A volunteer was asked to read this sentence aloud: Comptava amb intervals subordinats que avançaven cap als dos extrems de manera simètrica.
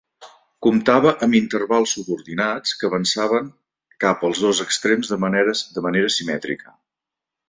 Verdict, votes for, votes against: rejected, 0, 2